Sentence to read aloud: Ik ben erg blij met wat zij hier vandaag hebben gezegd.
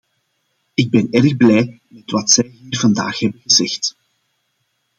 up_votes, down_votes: 0, 2